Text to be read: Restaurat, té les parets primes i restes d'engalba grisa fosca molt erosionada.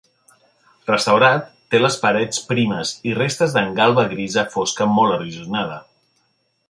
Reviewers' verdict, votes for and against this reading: accepted, 2, 0